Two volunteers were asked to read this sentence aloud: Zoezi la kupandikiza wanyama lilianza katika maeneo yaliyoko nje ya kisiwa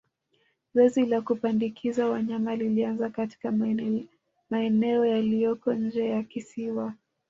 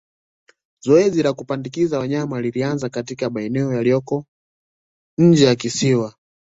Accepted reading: second